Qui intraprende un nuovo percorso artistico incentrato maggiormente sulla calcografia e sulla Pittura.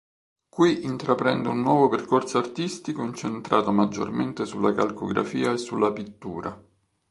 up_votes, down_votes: 2, 0